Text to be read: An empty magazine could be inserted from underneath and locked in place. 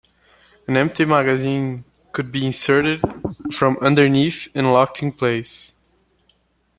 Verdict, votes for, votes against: accepted, 2, 0